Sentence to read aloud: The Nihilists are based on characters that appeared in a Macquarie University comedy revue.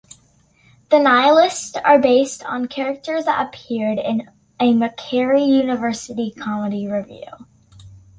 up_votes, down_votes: 2, 1